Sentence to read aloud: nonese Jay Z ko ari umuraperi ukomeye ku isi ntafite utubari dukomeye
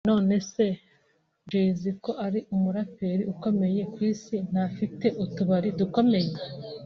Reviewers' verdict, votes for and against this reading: accepted, 2, 0